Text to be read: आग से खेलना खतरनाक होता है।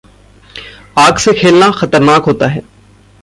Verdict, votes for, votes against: accepted, 2, 0